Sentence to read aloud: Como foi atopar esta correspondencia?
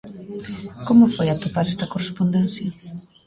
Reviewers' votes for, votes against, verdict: 1, 2, rejected